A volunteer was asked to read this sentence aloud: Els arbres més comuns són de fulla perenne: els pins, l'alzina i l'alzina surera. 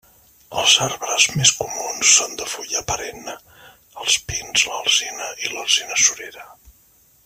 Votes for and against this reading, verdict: 1, 2, rejected